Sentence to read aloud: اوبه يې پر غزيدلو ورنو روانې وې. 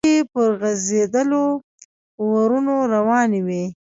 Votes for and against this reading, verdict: 0, 2, rejected